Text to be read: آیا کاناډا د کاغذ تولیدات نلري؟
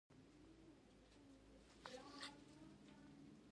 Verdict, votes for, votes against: rejected, 1, 2